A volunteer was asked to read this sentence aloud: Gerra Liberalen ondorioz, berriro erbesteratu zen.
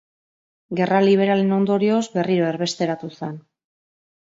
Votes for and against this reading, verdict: 1, 3, rejected